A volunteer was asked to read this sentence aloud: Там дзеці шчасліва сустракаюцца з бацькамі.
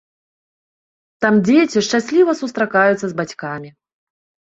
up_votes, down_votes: 2, 0